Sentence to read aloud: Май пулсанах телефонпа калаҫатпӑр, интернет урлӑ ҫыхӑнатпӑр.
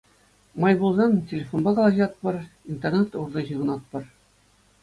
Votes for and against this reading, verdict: 2, 0, accepted